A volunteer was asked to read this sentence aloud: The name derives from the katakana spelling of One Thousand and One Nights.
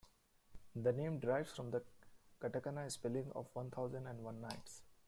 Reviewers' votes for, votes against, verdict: 1, 2, rejected